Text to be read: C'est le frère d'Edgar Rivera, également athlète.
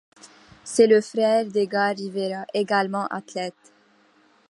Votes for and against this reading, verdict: 2, 0, accepted